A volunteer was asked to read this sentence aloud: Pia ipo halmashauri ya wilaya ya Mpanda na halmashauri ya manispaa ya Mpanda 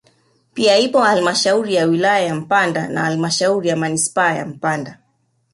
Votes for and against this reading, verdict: 2, 0, accepted